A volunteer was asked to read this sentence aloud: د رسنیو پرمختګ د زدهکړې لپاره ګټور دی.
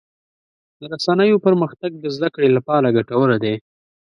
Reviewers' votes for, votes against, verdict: 2, 0, accepted